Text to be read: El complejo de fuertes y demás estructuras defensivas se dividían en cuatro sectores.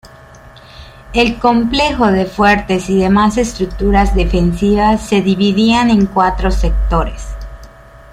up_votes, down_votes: 1, 2